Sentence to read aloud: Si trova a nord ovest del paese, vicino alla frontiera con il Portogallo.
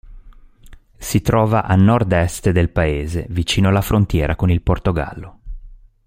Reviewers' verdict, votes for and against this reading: rejected, 0, 2